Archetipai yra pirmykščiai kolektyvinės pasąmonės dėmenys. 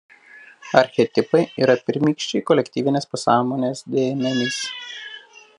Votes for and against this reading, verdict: 0, 2, rejected